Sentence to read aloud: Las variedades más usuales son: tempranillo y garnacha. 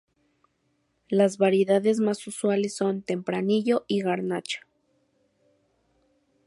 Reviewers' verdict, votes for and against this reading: accepted, 2, 0